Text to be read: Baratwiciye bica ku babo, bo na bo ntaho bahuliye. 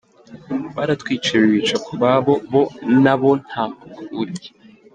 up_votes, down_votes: 1, 2